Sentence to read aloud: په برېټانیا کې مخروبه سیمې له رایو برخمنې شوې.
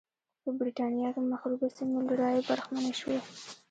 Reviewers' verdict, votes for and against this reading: accepted, 2, 1